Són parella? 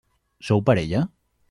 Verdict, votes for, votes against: rejected, 1, 2